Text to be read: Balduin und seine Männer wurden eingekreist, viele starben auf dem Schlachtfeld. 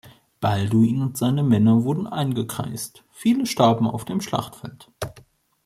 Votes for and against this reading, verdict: 3, 0, accepted